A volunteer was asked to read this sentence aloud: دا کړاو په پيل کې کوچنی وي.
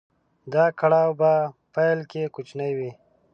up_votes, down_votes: 2, 0